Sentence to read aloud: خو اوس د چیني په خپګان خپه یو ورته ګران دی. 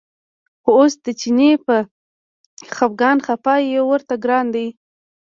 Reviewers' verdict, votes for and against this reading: rejected, 1, 2